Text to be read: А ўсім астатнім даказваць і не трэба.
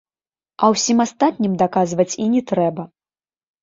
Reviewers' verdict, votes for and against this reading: accepted, 2, 0